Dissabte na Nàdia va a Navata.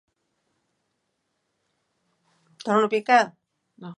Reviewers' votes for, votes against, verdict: 0, 3, rejected